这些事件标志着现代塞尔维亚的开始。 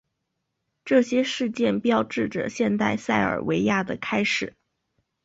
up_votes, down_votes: 1, 2